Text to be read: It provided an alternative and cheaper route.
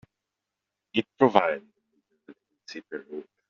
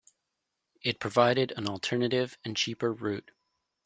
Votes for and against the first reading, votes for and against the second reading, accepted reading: 1, 2, 2, 0, second